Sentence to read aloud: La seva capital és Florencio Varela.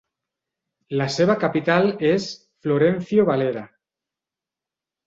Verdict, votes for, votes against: rejected, 1, 2